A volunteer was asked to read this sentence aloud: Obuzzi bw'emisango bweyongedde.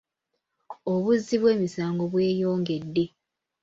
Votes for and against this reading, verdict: 2, 0, accepted